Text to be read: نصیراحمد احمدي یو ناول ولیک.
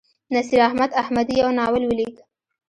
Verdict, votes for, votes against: rejected, 1, 2